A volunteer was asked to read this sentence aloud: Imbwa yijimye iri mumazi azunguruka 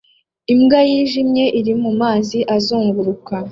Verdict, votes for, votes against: accepted, 2, 0